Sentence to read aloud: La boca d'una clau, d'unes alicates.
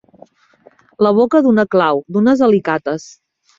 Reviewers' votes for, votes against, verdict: 4, 0, accepted